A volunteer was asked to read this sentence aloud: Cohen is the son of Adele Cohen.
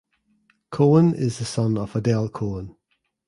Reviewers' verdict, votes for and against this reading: accepted, 2, 1